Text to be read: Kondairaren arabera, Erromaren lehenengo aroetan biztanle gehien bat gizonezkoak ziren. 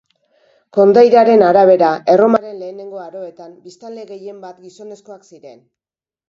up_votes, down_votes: 3, 2